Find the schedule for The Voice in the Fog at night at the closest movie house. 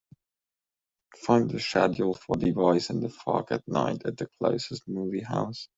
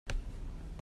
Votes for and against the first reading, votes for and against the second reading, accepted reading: 2, 0, 0, 3, first